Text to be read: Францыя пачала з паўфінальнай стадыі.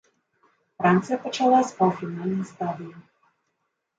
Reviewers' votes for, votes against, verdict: 1, 2, rejected